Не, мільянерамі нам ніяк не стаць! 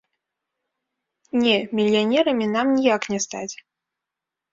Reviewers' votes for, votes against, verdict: 2, 0, accepted